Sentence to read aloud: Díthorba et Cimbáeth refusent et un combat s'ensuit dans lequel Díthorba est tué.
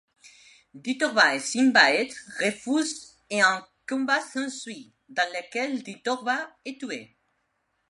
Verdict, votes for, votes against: accepted, 2, 0